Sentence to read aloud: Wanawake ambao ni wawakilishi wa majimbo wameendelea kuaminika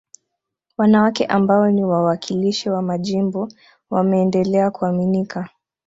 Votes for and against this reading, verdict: 2, 0, accepted